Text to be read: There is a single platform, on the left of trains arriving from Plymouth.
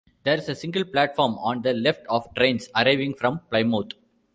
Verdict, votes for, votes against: accepted, 2, 1